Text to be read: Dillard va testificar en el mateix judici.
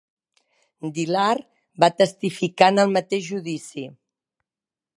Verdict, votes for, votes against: accepted, 2, 0